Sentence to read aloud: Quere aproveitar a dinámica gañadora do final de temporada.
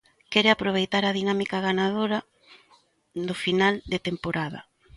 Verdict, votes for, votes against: rejected, 0, 2